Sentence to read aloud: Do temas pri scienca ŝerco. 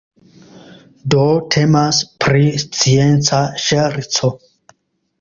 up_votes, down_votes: 2, 0